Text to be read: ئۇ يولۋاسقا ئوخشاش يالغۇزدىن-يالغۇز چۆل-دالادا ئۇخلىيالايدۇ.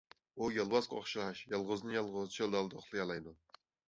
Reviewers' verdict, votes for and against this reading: accepted, 2, 1